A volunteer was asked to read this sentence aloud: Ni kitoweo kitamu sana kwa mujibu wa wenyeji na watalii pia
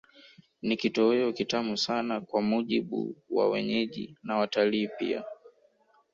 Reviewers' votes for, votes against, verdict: 1, 2, rejected